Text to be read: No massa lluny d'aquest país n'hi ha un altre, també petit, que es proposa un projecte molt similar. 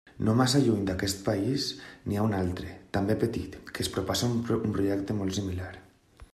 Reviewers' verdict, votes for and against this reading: rejected, 0, 2